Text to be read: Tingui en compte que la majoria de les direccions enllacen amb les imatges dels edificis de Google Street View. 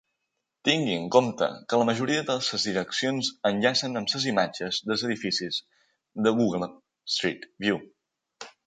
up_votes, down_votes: 2, 1